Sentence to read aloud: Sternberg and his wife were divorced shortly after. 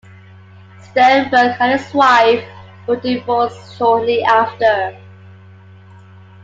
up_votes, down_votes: 2, 1